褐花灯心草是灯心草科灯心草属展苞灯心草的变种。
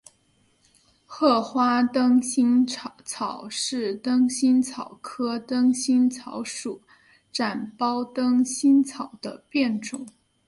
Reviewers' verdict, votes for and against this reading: accepted, 2, 0